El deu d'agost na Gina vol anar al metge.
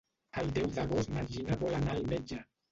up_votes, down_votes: 0, 2